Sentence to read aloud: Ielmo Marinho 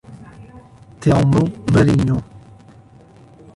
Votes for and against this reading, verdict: 0, 2, rejected